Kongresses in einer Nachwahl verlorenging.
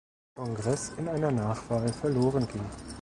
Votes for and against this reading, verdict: 1, 2, rejected